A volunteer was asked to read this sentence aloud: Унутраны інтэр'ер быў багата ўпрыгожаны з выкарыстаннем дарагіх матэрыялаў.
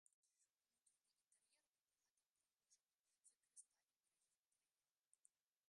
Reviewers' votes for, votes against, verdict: 0, 2, rejected